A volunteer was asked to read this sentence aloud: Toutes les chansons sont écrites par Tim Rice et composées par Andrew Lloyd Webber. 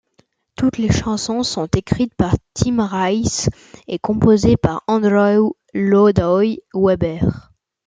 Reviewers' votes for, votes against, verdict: 0, 2, rejected